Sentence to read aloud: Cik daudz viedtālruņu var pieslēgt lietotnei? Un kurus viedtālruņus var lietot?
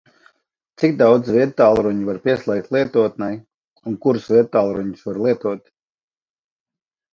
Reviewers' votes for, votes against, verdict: 2, 0, accepted